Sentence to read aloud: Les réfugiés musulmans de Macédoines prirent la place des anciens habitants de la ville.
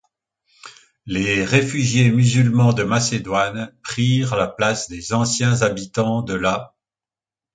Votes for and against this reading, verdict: 0, 2, rejected